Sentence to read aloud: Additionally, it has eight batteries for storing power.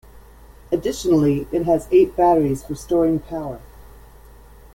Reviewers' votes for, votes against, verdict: 2, 0, accepted